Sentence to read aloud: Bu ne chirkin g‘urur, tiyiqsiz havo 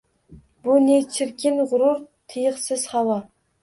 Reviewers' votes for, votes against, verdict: 2, 0, accepted